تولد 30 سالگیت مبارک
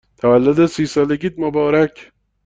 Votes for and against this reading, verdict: 0, 2, rejected